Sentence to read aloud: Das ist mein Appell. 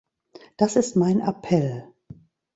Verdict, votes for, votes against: accepted, 3, 0